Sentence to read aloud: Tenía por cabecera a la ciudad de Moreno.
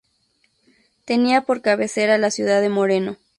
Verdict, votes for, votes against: accepted, 2, 0